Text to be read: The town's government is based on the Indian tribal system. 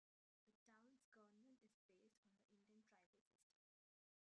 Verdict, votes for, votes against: rejected, 0, 2